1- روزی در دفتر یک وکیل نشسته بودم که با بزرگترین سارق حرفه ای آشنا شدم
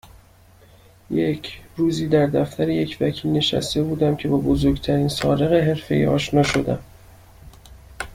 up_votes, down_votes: 0, 2